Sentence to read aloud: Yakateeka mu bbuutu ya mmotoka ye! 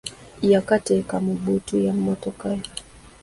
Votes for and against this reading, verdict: 2, 1, accepted